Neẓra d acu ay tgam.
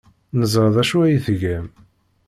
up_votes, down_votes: 2, 0